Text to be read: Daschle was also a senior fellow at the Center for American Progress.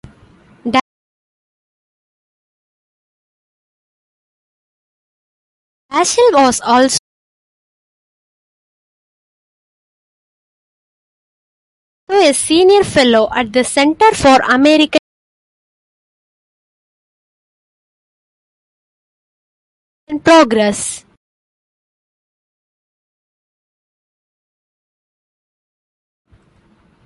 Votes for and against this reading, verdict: 0, 2, rejected